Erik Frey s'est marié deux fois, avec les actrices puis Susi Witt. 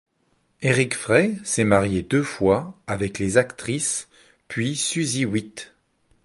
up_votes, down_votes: 2, 0